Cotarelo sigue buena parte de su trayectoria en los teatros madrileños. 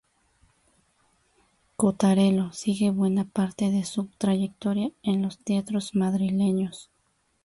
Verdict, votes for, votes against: accepted, 2, 0